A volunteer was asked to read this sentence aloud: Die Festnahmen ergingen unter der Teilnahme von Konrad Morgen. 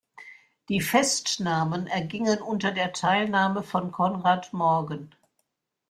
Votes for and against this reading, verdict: 2, 0, accepted